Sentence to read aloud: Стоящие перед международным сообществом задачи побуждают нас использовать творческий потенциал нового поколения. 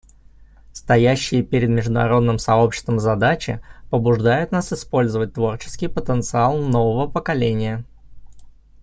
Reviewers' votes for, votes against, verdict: 2, 0, accepted